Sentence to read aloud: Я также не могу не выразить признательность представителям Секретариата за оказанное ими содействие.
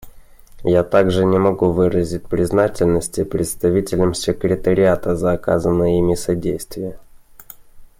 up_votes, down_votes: 0, 2